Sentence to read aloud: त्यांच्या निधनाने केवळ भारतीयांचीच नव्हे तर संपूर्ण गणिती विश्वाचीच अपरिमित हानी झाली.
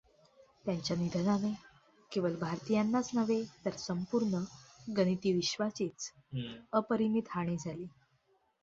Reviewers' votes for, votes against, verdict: 0, 2, rejected